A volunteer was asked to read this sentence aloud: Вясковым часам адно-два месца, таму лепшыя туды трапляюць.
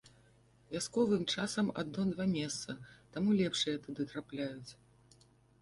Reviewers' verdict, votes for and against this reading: accepted, 2, 0